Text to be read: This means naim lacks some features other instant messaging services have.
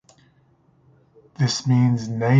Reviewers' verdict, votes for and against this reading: rejected, 0, 2